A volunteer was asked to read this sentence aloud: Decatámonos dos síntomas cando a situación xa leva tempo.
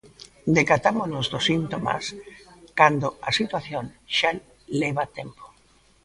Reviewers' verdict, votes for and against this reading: rejected, 1, 2